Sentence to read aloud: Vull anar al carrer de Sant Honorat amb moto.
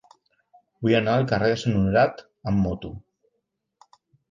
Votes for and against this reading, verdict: 1, 2, rejected